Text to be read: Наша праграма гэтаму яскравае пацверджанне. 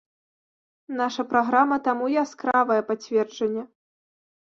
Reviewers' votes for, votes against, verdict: 1, 2, rejected